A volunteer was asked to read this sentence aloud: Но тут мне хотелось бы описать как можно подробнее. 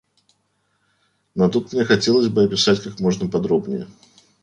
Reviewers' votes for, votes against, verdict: 2, 0, accepted